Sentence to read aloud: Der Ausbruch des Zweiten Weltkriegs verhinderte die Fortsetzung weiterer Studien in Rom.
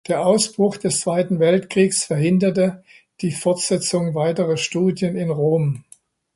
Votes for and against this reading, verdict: 2, 0, accepted